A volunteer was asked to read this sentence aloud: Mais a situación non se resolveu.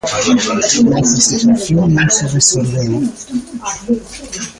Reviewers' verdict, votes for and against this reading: rejected, 0, 2